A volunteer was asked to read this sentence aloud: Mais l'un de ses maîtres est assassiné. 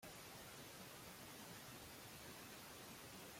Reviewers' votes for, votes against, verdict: 0, 2, rejected